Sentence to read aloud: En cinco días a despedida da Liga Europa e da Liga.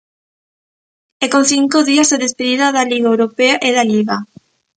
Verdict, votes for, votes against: rejected, 0, 2